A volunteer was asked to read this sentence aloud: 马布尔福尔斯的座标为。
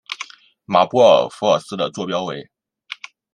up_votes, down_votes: 2, 0